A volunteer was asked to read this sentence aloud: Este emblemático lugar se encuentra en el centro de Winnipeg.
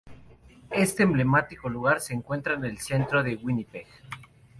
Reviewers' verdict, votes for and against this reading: accepted, 4, 0